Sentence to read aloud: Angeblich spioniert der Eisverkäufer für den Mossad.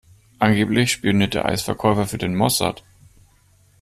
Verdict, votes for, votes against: accepted, 2, 0